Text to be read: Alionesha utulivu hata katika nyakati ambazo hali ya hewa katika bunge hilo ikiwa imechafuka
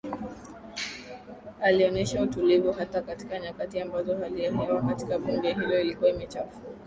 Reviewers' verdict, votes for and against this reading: accepted, 2, 0